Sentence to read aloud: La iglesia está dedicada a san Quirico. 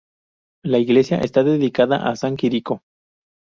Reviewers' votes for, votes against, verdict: 2, 0, accepted